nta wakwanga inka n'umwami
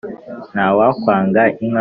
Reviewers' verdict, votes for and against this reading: rejected, 1, 2